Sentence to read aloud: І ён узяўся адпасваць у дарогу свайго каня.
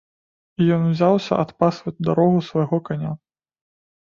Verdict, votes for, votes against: accepted, 2, 0